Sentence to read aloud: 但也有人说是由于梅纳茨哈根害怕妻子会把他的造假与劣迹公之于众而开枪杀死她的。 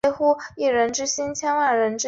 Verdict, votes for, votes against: rejected, 0, 3